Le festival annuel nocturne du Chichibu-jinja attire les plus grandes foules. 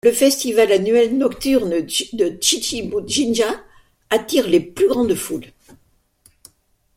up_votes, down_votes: 0, 2